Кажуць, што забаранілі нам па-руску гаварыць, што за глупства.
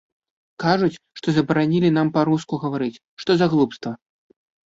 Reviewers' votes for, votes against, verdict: 2, 0, accepted